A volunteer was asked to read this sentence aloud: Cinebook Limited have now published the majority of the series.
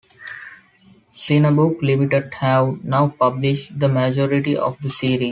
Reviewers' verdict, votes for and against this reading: rejected, 0, 2